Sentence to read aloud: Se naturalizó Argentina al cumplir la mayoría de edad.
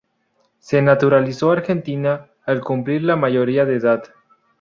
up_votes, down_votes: 0, 2